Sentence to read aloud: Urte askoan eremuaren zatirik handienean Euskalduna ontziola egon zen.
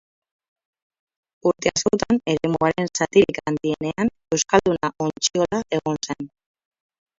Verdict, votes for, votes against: rejected, 0, 2